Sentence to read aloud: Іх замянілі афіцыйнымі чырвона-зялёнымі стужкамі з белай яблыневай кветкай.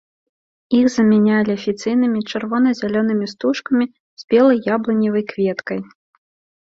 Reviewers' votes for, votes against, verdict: 0, 2, rejected